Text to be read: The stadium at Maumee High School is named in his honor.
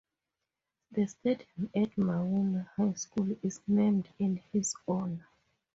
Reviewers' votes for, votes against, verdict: 0, 4, rejected